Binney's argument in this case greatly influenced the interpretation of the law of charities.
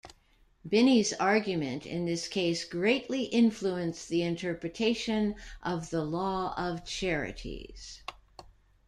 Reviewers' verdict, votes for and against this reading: accepted, 2, 0